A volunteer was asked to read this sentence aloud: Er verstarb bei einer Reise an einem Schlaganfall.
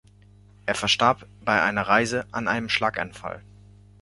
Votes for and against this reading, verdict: 2, 0, accepted